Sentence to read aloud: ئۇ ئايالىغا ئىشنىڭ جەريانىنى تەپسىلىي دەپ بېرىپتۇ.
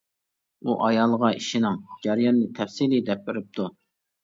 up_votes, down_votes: 0, 2